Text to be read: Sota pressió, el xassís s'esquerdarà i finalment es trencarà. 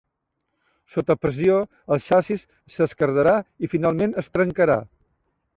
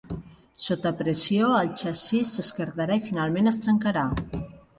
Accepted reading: second